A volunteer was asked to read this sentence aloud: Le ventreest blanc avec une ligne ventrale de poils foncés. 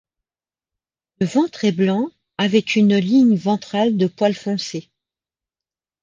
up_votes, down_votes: 1, 2